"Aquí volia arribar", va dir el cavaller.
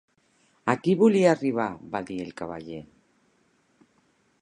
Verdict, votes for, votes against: accepted, 2, 0